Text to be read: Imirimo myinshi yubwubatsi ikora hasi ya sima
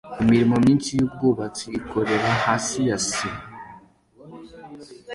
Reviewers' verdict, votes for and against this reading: accepted, 2, 0